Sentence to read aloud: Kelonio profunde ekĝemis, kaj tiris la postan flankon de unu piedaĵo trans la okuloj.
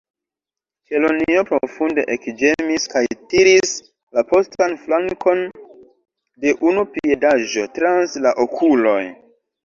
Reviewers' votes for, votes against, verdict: 2, 0, accepted